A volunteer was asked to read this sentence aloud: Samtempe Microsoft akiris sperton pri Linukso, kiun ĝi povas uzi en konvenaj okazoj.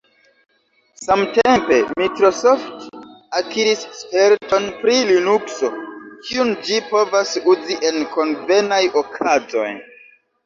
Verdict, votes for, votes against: accepted, 2, 0